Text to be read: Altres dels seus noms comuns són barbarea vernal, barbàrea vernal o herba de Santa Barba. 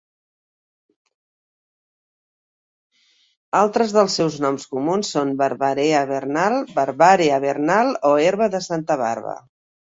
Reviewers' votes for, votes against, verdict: 2, 1, accepted